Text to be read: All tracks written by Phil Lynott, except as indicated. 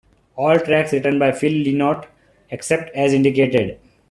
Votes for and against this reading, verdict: 2, 1, accepted